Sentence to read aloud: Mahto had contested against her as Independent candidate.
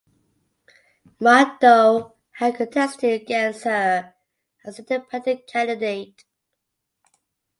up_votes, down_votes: 2, 0